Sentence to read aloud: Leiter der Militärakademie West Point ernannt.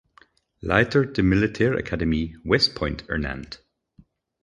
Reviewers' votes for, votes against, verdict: 2, 4, rejected